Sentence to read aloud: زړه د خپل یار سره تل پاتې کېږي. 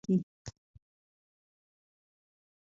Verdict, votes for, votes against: rejected, 0, 2